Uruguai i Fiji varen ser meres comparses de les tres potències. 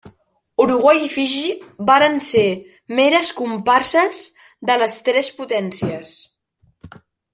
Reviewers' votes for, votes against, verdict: 3, 0, accepted